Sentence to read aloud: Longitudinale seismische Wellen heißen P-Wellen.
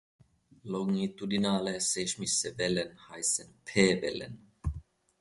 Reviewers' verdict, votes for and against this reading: rejected, 1, 2